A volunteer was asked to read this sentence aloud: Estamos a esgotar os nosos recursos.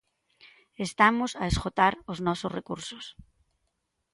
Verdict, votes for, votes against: accepted, 2, 0